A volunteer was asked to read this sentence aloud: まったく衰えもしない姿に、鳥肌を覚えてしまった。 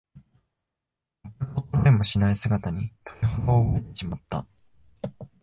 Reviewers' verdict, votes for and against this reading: rejected, 1, 3